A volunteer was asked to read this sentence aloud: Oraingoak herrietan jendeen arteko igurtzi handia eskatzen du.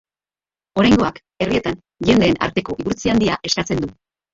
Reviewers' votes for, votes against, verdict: 1, 2, rejected